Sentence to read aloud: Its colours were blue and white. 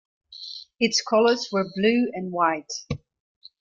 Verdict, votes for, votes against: accepted, 2, 0